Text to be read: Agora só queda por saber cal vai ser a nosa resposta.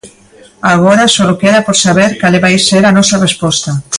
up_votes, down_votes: 0, 2